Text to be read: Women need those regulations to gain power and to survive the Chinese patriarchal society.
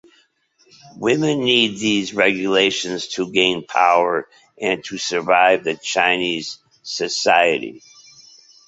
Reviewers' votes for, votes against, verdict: 0, 3, rejected